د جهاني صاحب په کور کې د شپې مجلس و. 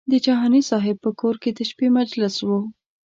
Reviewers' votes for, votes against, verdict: 2, 0, accepted